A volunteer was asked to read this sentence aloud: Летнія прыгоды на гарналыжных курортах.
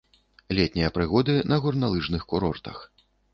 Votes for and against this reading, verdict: 1, 2, rejected